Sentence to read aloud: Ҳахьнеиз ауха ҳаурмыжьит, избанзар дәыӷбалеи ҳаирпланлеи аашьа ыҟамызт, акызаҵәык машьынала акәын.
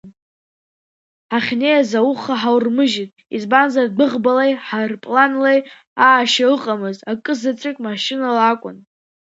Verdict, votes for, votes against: rejected, 1, 2